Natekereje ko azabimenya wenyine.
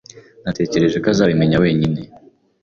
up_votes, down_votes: 2, 0